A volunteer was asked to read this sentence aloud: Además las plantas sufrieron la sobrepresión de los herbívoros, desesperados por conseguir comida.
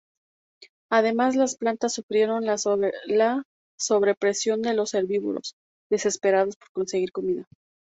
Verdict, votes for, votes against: rejected, 0, 2